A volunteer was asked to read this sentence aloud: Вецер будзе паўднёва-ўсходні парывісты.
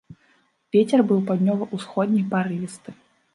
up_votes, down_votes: 0, 2